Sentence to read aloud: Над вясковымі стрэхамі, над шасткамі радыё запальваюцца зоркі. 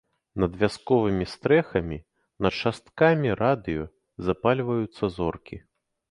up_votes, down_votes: 2, 0